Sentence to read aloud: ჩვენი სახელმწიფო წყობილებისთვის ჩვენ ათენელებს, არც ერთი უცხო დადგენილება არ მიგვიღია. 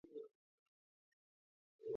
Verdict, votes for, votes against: rejected, 0, 2